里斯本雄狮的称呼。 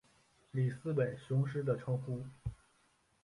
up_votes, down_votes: 5, 0